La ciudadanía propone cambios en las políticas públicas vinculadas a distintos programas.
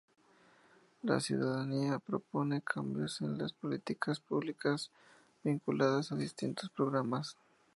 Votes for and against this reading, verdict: 2, 0, accepted